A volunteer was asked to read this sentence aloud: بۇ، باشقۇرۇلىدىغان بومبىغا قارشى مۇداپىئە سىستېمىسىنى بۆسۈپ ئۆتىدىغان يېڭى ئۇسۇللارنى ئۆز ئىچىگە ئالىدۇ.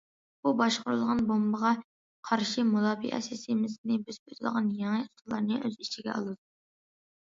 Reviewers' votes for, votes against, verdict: 2, 1, accepted